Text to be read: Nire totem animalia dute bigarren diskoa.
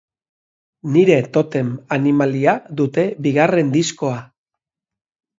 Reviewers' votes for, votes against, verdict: 2, 0, accepted